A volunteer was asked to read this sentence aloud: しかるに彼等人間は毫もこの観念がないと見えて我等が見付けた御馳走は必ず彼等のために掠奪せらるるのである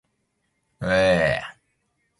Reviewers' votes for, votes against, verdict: 0, 2, rejected